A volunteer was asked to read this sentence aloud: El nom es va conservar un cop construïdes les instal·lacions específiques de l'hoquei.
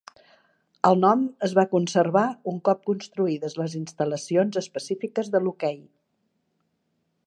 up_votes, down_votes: 3, 0